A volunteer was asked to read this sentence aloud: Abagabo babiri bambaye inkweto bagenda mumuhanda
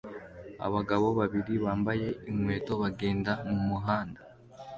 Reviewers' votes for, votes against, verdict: 2, 1, accepted